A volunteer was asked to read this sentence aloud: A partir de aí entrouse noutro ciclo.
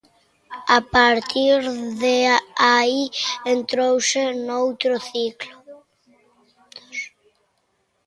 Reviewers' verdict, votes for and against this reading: rejected, 1, 2